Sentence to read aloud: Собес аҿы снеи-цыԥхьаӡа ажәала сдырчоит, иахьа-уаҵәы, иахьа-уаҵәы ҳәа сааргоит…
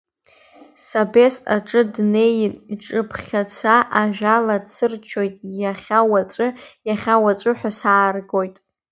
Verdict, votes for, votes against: rejected, 0, 2